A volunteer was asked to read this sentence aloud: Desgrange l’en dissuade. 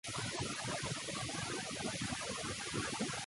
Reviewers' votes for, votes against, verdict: 0, 2, rejected